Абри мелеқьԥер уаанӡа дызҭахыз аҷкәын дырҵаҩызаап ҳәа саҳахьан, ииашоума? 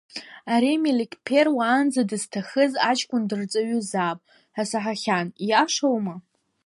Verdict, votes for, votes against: rejected, 1, 2